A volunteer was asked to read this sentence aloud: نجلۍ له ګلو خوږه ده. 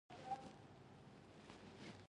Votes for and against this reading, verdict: 1, 2, rejected